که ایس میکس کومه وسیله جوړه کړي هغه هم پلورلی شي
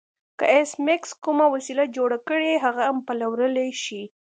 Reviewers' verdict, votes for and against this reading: accepted, 2, 0